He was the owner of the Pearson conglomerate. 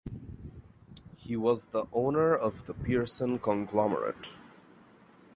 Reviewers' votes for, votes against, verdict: 2, 0, accepted